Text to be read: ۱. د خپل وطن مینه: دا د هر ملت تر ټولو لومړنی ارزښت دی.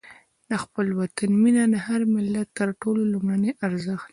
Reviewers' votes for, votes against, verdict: 0, 2, rejected